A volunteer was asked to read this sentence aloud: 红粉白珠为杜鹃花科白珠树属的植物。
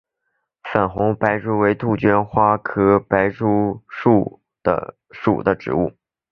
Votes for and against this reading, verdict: 2, 0, accepted